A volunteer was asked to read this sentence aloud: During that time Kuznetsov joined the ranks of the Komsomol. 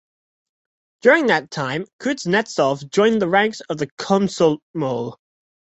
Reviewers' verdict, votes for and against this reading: rejected, 0, 2